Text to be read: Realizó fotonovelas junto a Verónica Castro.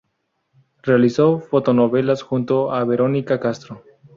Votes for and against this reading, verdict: 2, 0, accepted